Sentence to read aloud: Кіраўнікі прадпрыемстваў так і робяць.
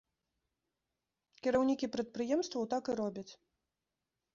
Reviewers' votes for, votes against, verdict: 2, 1, accepted